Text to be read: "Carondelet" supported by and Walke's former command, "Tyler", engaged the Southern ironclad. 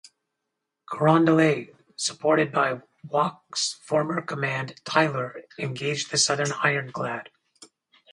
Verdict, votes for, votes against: rejected, 0, 2